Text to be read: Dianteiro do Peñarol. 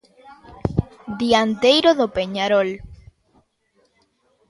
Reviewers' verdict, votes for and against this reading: accepted, 2, 0